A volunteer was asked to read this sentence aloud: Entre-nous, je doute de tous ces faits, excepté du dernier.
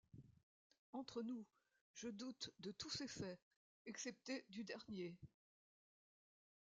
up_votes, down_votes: 2, 0